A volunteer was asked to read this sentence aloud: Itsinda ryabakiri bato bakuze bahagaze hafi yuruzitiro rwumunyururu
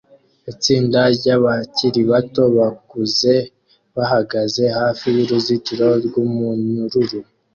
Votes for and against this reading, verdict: 2, 0, accepted